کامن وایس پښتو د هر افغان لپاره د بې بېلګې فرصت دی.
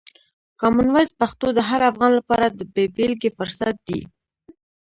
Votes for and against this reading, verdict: 0, 2, rejected